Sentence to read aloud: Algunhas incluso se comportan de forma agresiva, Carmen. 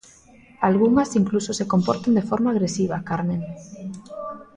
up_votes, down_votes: 1, 2